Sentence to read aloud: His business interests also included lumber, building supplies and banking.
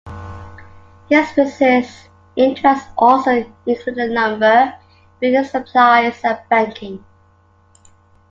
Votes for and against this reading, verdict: 2, 1, accepted